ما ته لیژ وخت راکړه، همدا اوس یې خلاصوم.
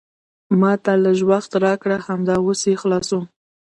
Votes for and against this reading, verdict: 1, 2, rejected